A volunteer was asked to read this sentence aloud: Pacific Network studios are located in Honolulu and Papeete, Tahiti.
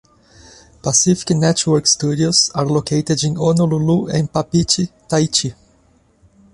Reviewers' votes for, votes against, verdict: 0, 2, rejected